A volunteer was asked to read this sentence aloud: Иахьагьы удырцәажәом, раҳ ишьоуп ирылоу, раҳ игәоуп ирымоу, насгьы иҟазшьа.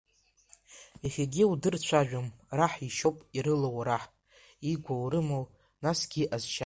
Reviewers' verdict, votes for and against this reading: rejected, 0, 2